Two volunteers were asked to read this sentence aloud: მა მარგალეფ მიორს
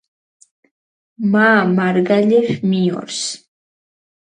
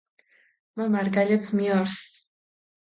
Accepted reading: second